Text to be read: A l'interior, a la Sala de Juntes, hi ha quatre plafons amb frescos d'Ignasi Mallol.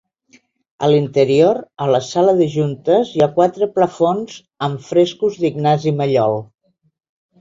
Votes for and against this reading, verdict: 2, 0, accepted